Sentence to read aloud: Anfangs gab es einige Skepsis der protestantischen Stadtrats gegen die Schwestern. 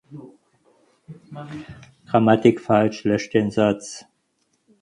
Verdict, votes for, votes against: rejected, 0, 4